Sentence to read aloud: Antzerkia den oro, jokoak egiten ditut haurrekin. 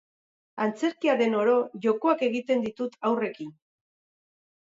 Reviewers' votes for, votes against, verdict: 4, 0, accepted